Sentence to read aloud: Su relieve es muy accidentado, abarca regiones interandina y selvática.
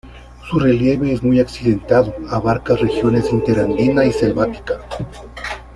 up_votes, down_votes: 2, 0